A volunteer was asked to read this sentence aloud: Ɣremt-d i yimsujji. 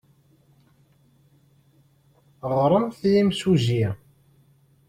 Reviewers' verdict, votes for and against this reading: rejected, 1, 2